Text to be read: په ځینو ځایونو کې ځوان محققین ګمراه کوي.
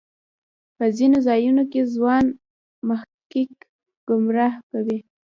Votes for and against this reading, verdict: 0, 2, rejected